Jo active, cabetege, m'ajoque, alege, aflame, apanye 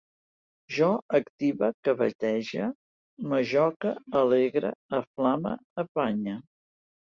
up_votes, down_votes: 1, 2